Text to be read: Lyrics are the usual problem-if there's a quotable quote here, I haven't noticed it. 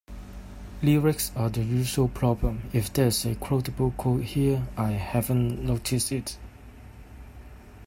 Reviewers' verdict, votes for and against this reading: accepted, 2, 0